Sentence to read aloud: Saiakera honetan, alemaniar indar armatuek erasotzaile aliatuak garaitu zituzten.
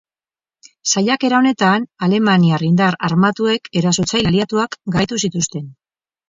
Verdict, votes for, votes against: rejected, 0, 4